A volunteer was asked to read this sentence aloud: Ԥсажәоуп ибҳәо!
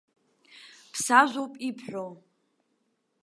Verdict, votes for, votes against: accepted, 2, 0